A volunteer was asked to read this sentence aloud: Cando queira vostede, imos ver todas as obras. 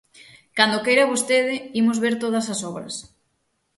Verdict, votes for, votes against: accepted, 6, 0